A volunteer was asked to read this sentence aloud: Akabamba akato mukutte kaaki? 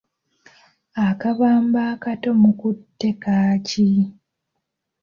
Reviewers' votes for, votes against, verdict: 2, 1, accepted